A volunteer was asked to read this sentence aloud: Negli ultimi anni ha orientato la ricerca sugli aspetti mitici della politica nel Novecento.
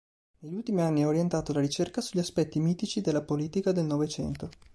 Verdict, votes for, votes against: rejected, 0, 2